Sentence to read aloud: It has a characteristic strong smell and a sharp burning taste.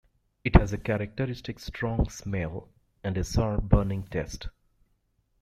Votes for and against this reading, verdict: 1, 2, rejected